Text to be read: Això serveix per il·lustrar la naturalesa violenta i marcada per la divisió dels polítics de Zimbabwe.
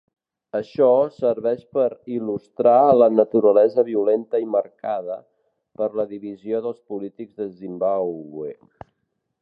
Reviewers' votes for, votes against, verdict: 0, 2, rejected